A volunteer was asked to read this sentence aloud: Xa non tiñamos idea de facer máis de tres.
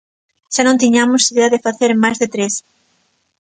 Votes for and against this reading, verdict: 2, 0, accepted